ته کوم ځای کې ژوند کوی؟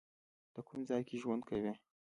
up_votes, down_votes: 2, 0